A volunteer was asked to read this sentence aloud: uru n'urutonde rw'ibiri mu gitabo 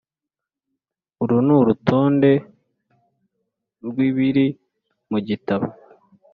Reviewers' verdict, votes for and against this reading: accepted, 2, 0